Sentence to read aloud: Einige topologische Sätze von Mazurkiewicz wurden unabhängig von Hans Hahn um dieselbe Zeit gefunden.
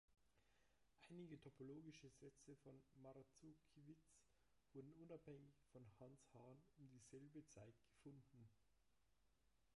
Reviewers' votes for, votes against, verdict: 0, 2, rejected